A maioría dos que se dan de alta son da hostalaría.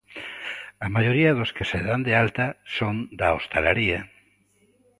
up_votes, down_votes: 2, 0